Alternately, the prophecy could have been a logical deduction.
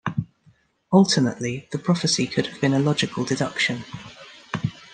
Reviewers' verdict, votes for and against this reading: accepted, 2, 0